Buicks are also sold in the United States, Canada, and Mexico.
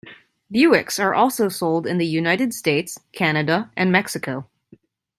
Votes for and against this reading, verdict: 2, 0, accepted